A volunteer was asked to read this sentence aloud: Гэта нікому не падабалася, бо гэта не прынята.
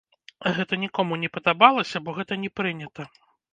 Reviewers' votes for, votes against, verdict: 3, 0, accepted